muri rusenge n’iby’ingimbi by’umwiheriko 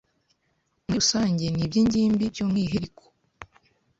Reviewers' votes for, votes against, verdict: 1, 2, rejected